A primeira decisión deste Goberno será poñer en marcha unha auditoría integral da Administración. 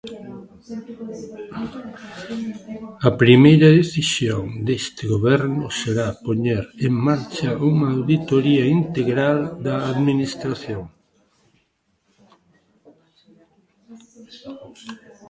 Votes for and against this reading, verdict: 1, 2, rejected